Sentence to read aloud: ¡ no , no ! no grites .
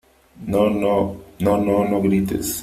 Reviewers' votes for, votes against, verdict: 2, 3, rejected